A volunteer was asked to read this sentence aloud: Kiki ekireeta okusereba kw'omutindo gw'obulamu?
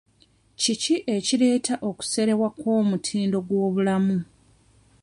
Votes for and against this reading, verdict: 1, 2, rejected